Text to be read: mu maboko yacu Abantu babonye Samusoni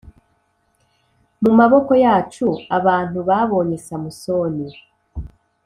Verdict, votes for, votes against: accepted, 3, 0